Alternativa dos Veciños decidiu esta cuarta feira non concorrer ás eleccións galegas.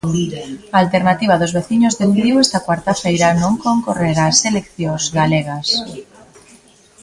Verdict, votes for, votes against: accepted, 2, 1